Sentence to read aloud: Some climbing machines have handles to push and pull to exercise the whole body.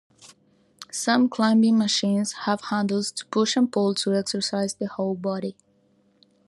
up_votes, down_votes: 2, 0